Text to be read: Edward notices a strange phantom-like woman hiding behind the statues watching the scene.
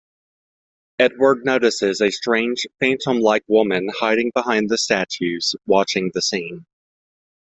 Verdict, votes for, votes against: accepted, 2, 0